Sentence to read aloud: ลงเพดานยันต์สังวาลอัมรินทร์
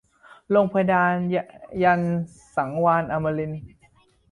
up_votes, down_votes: 2, 1